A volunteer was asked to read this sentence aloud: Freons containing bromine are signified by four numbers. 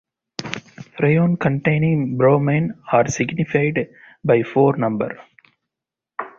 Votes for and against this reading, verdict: 0, 2, rejected